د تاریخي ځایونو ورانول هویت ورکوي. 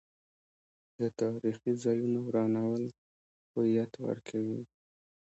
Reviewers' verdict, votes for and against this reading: rejected, 0, 2